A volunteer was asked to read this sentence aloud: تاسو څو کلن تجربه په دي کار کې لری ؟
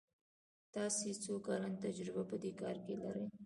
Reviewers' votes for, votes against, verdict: 2, 1, accepted